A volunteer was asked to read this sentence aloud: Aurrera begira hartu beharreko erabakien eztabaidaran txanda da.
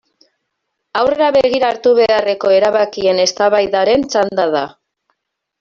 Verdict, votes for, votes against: rejected, 0, 2